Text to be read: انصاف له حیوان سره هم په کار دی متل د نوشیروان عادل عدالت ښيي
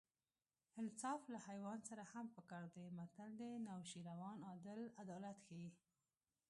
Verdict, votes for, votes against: rejected, 1, 2